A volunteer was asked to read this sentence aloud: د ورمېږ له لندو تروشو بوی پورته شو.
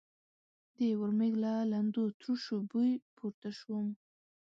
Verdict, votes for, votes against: accepted, 2, 0